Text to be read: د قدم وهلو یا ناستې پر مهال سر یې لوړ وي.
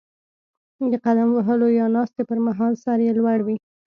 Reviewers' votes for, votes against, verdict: 2, 0, accepted